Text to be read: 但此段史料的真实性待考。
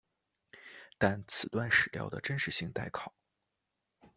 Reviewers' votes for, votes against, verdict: 2, 0, accepted